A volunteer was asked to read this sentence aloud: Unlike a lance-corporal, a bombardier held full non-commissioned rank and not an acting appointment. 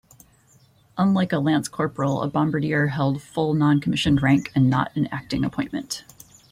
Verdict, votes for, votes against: rejected, 1, 2